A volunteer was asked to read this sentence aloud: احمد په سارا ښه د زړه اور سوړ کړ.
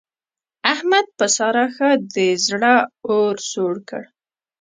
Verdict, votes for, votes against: accepted, 2, 0